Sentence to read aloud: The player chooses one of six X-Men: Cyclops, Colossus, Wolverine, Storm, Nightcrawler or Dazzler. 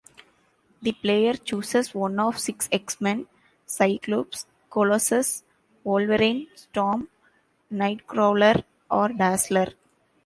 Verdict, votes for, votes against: rejected, 1, 2